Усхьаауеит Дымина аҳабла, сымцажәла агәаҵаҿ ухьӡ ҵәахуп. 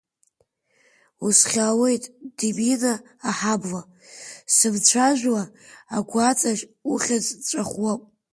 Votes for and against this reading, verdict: 1, 2, rejected